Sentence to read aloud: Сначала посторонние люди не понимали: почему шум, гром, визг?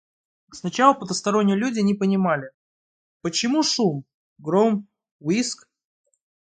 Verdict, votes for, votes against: rejected, 1, 2